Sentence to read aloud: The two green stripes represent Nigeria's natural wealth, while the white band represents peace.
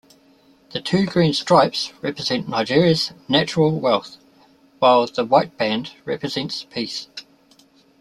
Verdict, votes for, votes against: accepted, 2, 0